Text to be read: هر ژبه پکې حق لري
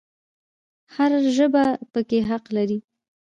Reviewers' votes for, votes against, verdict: 2, 0, accepted